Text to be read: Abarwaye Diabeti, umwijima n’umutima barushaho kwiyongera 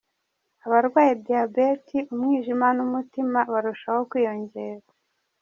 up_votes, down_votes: 1, 2